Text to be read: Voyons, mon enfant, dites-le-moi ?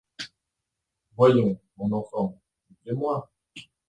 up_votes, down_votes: 0, 2